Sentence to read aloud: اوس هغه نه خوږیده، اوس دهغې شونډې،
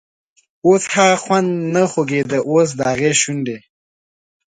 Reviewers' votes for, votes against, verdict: 2, 0, accepted